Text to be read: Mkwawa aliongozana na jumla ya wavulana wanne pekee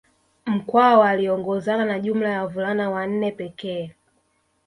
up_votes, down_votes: 1, 2